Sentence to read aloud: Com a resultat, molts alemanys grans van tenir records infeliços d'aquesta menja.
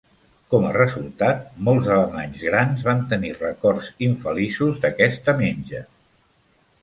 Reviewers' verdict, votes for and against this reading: accepted, 3, 0